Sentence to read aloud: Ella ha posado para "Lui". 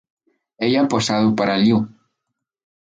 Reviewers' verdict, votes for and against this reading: rejected, 0, 2